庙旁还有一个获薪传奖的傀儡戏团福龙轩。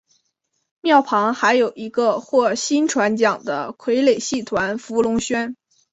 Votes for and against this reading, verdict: 3, 0, accepted